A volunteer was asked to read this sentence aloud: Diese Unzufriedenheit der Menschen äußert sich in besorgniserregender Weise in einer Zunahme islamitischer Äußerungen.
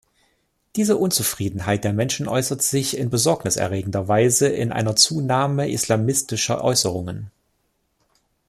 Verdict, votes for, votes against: rejected, 0, 2